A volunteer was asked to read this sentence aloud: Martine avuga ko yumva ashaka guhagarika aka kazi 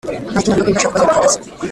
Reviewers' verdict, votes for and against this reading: rejected, 0, 2